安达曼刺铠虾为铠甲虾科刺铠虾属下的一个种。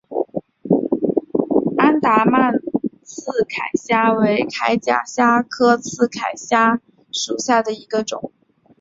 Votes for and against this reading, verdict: 3, 2, accepted